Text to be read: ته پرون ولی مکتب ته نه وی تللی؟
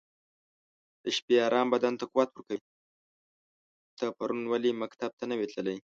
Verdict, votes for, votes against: rejected, 2, 4